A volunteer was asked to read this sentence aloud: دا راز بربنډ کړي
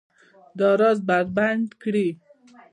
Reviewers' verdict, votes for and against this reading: accepted, 2, 1